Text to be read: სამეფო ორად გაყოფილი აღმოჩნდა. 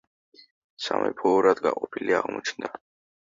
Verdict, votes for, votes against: rejected, 0, 2